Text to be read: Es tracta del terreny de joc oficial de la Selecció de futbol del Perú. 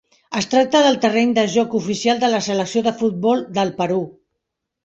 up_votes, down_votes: 3, 0